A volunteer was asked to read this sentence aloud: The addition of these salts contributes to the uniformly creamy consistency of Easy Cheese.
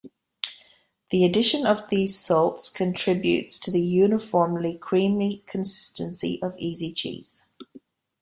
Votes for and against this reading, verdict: 2, 0, accepted